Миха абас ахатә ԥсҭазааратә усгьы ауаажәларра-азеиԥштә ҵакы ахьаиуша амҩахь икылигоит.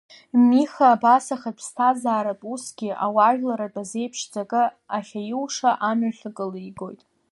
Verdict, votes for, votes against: rejected, 0, 2